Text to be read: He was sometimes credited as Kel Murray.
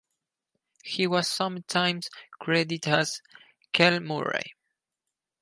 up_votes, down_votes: 0, 2